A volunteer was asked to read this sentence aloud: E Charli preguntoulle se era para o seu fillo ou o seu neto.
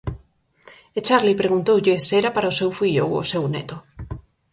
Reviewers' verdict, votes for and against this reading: accepted, 4, 0